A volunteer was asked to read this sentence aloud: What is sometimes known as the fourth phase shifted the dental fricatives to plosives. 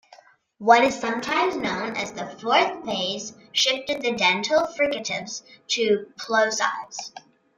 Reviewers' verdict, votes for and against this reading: rejected, 1, 2